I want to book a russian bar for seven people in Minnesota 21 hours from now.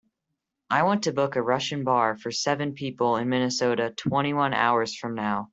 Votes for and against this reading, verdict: 0, 2, rejected